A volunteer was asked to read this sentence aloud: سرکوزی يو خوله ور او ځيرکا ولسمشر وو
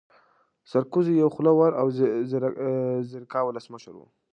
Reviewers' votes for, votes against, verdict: 1, 2, rejected